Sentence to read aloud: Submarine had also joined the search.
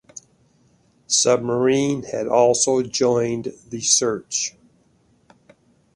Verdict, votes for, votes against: accepted, 2, 0